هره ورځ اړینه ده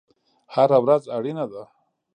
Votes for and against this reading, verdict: 1, 2, rejected